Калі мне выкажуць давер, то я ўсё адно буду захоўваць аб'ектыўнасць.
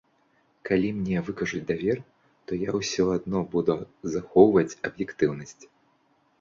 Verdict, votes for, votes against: accepted, 2, 0